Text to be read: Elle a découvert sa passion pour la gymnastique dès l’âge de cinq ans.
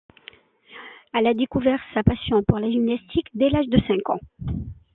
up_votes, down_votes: 2, 0